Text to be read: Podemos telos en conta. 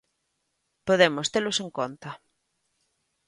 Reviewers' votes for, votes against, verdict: 2, 0, accepted